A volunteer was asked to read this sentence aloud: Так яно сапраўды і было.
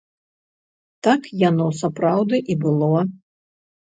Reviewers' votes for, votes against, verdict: 0, 2, rejected